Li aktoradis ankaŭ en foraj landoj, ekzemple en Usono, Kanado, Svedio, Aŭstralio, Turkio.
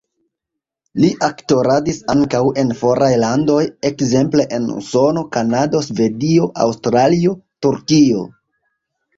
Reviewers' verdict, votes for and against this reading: accepted, 2, 0